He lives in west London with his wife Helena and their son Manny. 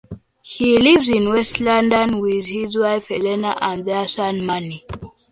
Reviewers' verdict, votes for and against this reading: accepted, 2, 0